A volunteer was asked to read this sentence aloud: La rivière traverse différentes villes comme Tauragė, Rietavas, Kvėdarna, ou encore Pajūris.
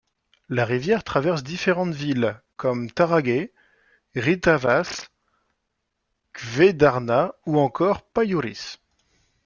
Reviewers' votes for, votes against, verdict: 0, 2, rejected